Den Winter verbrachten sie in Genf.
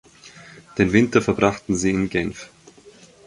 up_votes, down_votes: 4, 0